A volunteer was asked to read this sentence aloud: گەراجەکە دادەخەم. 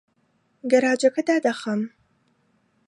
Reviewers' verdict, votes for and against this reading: accepted, 2, 0